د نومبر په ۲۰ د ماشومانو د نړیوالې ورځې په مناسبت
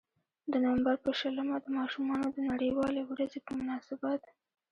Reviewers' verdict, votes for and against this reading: rejected, 0, 2